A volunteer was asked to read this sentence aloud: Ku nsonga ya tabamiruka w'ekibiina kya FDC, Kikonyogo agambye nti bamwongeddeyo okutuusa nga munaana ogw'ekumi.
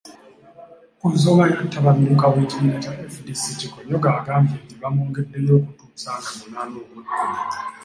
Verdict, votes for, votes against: accepted, 2, 0